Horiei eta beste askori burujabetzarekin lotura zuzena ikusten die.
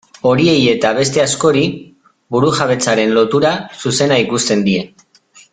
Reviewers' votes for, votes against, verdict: 0, 2, rejected